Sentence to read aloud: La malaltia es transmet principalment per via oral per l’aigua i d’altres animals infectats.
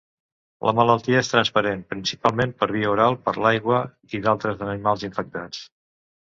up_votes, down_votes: 0, 2